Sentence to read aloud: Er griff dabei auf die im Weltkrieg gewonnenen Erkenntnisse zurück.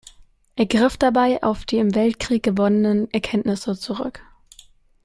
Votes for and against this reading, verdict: 2, 0, accepted